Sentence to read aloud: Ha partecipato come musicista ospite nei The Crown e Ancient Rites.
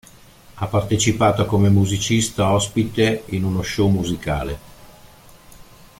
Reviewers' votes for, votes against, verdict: 0, 2, rejected